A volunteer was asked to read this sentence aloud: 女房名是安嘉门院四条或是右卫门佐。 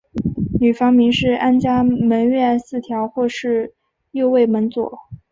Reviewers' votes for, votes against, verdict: 2, 0, accepted